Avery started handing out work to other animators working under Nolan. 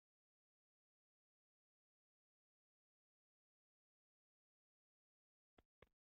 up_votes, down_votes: 0, 2